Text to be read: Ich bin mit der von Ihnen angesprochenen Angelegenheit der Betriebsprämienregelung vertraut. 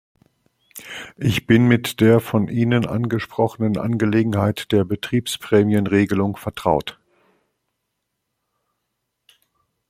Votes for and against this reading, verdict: 2, 0, accepted